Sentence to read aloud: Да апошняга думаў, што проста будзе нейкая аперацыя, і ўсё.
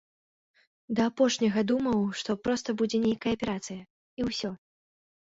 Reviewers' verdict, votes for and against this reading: accepted, 2, 0